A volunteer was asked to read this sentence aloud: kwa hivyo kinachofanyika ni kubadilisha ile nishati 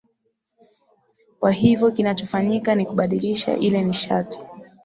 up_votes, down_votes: 2, 1